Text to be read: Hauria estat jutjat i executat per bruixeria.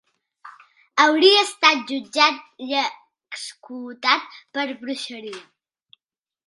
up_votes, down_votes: 0, 2